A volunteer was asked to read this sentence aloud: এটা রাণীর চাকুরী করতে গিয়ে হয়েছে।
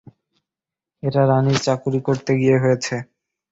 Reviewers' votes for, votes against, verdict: 2, 0, accepted